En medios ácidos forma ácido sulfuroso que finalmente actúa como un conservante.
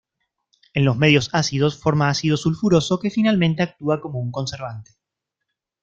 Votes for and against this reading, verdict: 1, 2, rejected